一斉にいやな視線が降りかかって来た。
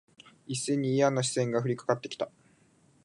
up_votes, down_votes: 2, 0